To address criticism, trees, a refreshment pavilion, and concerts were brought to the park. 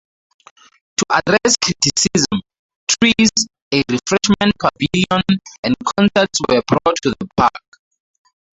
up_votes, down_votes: 0, 2